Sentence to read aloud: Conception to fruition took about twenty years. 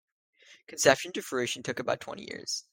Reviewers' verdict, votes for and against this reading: accepted, 2, 0